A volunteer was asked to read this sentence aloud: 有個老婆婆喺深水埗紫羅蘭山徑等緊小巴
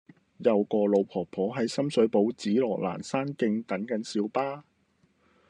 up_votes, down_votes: 2, 0